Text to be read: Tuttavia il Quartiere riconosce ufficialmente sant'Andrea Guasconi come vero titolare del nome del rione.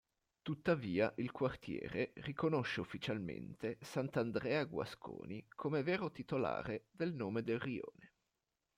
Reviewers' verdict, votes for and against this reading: accepted, 2, 0